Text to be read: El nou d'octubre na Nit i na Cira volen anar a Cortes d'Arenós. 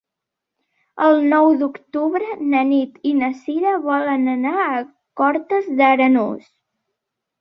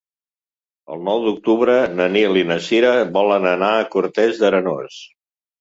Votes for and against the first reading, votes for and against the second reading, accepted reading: 2, 0, 1, 2, first